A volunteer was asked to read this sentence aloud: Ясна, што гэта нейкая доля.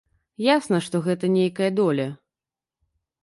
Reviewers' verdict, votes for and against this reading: accepted, 2, 0